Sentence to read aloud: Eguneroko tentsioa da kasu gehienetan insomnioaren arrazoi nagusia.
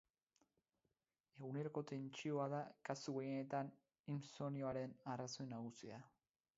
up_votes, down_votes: 0, 4